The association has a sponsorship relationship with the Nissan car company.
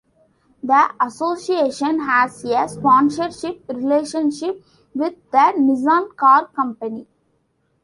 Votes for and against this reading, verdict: 2, 0, accepted